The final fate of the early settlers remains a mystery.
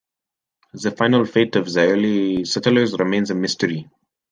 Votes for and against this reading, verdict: 1, 2, rejected